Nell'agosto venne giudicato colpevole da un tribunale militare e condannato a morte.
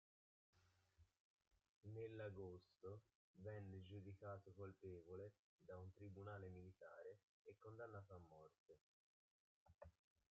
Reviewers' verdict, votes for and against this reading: rejected, 0, 2